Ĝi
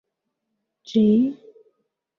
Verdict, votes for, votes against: rejected, 1, 2